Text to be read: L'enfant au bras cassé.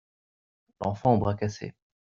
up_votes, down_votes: 2, 0